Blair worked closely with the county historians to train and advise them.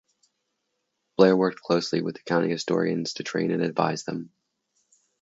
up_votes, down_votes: 2, 2